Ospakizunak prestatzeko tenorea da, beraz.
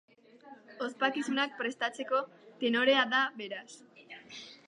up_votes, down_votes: 0, 2